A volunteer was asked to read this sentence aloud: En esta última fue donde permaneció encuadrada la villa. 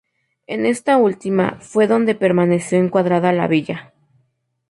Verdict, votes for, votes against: rejected, 0, 2